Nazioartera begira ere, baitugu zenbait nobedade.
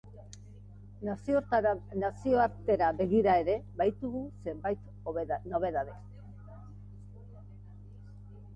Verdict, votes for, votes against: rejected, 0, 3